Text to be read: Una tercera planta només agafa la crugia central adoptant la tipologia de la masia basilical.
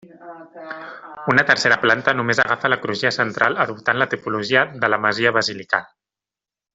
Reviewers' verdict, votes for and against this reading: accepted, 2, 1